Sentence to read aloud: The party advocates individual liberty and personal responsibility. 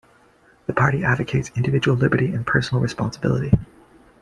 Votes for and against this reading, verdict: 2, 0, accepted